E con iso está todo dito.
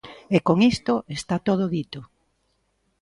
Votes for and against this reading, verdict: 2, 0, accepted